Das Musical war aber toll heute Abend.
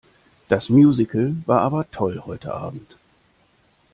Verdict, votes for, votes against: accepted, 2, 0